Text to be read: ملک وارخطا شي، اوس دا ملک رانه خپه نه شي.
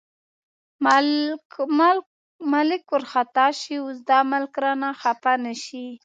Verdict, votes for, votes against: rejected, 1, 2